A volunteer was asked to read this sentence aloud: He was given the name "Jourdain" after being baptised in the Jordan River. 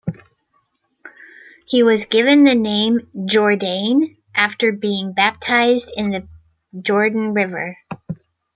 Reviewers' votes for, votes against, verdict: 2, 0, accepted